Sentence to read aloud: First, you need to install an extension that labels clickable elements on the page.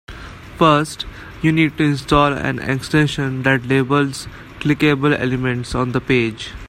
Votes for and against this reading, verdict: 2, 0, accepted